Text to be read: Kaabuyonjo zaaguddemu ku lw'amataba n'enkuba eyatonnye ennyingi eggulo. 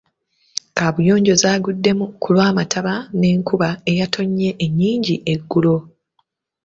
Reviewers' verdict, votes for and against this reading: accepted, 2, 0